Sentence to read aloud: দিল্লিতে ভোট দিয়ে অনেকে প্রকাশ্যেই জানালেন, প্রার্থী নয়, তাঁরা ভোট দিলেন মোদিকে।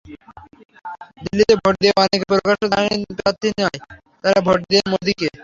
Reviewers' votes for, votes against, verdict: 0, 3, rejected